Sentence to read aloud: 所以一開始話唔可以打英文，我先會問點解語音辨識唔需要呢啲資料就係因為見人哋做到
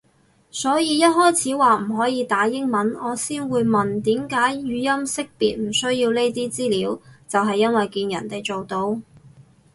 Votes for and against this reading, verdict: 2, 2, rejected